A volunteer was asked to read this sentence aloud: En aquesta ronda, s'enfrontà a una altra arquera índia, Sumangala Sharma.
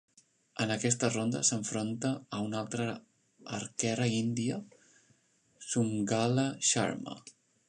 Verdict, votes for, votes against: rejected, 0, 3